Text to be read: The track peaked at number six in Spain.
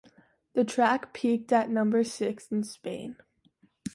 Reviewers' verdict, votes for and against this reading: accepted, 2, 0